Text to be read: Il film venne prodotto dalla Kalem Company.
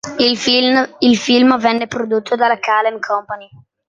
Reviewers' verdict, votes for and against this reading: rejected, 0, 3